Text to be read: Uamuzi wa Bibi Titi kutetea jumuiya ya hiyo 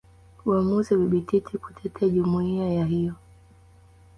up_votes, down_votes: 2, 0